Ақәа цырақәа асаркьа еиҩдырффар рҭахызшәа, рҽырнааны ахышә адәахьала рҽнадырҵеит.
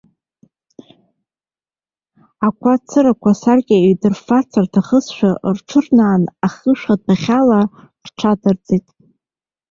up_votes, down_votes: 2, 0